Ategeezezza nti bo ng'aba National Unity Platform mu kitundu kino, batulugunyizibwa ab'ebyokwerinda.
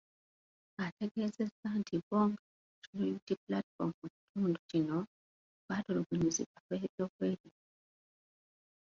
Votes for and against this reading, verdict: 1, 2, rejected